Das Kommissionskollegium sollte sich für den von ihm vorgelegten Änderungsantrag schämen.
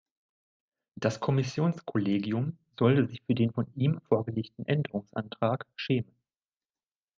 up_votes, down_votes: 1, 2